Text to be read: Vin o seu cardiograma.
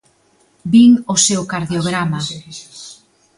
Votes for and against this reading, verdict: 0, 2, rejected